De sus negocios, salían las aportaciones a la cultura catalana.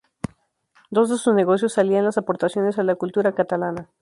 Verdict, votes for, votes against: rejected, 0, 2